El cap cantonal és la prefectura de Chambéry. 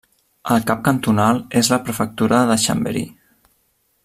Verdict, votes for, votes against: accepted, 2, 0